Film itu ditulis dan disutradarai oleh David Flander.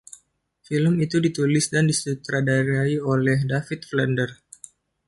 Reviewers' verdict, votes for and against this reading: accepted, 2, 1